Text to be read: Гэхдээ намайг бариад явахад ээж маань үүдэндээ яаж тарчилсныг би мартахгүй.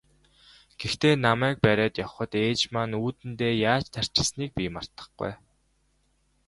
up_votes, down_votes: 2, 1